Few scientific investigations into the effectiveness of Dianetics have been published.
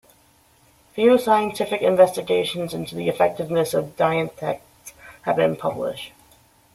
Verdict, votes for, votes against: rejected, 1, 2